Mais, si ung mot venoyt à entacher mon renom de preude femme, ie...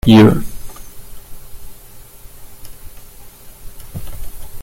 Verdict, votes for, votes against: rejected, 0, 2